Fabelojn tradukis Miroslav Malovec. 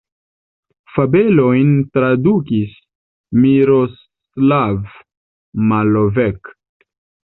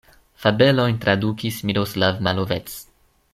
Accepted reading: second